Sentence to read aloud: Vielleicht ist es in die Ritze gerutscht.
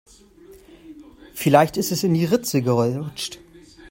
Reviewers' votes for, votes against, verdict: 0, 2, rejected